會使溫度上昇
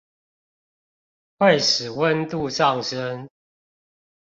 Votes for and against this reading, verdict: 2, 0, accepted